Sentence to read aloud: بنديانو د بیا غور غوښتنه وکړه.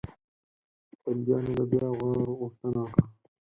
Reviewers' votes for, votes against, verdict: 2, 4, rejected